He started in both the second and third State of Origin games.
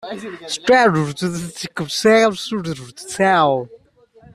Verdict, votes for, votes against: rejected, 0, 2